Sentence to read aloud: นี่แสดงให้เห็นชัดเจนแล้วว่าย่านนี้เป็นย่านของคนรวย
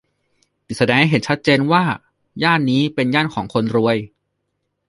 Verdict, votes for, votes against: rejected, 1, 2